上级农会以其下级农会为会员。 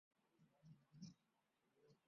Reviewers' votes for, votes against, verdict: 0, 2, rejected